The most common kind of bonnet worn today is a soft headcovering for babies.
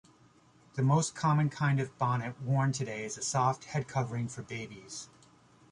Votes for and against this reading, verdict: 2, 0, accepted